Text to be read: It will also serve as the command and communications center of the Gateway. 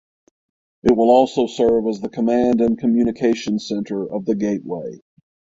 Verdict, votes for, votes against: accepted, 6, 0